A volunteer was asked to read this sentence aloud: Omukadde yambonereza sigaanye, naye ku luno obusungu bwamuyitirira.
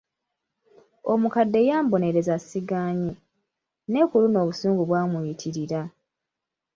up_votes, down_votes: 2, 0